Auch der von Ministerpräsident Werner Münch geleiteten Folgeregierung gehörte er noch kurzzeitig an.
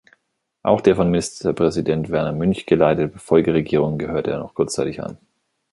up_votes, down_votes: 0, 2